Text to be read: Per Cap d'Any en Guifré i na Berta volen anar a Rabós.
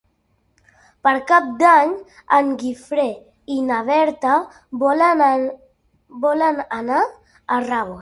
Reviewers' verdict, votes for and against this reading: rejected, 0, 2